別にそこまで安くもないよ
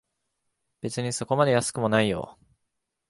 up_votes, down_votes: 8, 0